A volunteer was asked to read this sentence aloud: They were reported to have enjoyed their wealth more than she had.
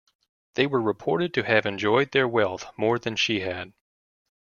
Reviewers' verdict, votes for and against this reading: accepted, 2, 0